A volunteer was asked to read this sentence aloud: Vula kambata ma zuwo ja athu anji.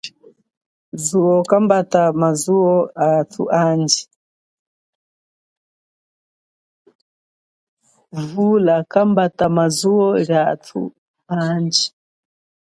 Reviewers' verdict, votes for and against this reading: rejected, 0, 2